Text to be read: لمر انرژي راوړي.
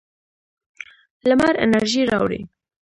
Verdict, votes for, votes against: rejected, 1, 2